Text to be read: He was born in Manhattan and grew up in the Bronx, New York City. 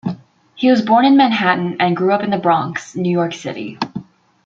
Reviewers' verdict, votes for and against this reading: accepted, 2, 0